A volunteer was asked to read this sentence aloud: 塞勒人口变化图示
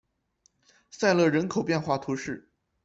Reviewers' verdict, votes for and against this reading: accepted, 2, 0